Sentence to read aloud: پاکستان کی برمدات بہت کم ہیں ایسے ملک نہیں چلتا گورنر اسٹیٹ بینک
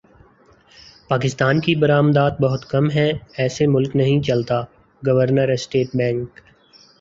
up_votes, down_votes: 1, 2